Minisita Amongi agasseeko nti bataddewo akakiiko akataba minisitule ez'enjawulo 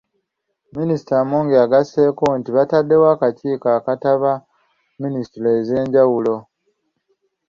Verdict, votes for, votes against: accepted, 2, 0